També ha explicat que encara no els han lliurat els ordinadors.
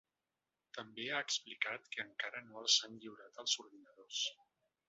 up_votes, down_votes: 0, 2